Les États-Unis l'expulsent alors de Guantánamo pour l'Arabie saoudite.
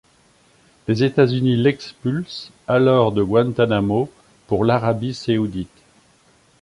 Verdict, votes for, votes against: rejected, 0, 2